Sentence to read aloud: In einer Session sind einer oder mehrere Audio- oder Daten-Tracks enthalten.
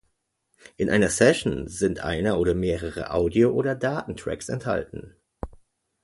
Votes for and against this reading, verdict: 2, 0, accepted